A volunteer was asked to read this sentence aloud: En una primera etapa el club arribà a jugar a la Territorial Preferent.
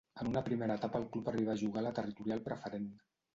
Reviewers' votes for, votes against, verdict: 1, 2, rejected